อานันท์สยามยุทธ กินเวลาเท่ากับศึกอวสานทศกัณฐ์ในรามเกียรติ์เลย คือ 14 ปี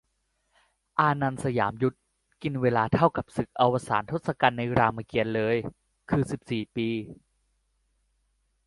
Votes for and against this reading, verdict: 0, 2, rejected